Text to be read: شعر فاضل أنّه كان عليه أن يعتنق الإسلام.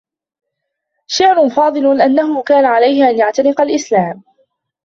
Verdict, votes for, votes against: accepted, 2, 0